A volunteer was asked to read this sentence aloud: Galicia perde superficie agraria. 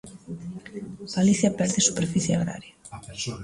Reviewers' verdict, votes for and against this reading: rejected, 1, 2